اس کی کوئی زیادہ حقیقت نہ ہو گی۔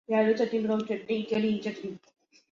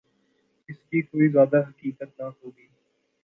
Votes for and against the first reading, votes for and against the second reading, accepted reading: 1, 2, 2, 0, second